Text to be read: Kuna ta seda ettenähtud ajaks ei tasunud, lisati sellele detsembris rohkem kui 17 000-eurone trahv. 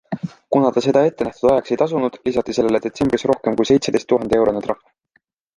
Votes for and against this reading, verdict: 0, 2, rejected